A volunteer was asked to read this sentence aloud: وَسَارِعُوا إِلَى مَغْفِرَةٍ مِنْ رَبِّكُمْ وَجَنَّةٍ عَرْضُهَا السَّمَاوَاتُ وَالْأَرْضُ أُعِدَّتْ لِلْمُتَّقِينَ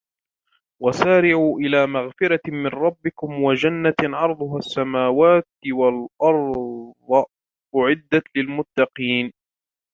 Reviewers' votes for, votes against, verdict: 0, 2, rejected